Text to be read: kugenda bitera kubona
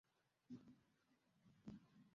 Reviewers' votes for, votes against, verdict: 0, 2, rejected